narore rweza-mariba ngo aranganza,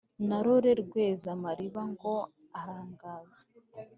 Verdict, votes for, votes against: accepted, 2, 0